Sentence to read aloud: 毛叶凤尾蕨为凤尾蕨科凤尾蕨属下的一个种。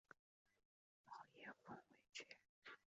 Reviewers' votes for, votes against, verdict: 0, 2, rejected